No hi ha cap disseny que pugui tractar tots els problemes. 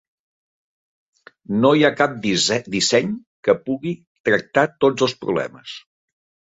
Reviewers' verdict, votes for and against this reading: rejected, 0, 3